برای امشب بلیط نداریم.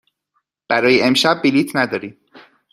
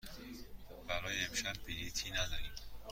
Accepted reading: first